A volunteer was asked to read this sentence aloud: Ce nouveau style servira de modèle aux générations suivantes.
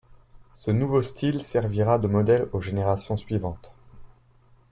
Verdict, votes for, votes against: accepted, 2, 0